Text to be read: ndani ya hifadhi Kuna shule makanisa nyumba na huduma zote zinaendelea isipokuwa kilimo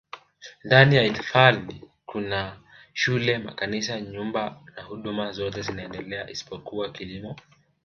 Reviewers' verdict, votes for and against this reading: rejected, 0, 2